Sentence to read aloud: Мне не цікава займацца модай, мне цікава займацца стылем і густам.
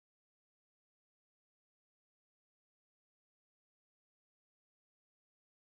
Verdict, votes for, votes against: rejected, 0, 2